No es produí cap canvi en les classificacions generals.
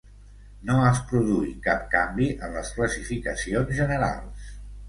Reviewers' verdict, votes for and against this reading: accepted, 2, 0